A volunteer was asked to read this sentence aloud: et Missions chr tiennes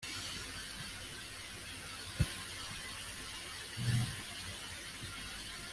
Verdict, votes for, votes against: rejected, 0, 2